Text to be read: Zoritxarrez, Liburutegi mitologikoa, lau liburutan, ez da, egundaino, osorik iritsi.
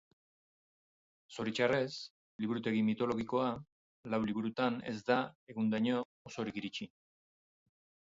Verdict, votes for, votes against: accepted, 6, 0